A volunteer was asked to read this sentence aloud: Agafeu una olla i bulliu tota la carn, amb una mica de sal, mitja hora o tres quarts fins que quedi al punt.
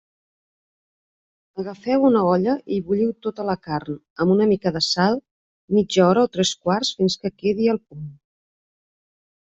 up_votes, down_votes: 2, 0